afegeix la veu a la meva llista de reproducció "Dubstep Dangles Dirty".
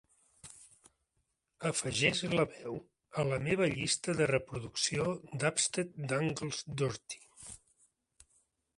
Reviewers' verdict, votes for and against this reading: accepted, 3, 0